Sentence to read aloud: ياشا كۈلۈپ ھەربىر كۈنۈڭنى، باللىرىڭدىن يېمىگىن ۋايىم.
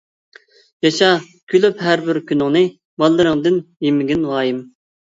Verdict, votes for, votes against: accepted, 2, 0